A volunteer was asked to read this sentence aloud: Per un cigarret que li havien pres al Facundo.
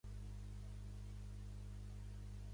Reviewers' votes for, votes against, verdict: 0, 2, rejected